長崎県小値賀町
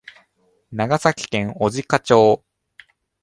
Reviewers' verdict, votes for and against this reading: accepted, 3, 0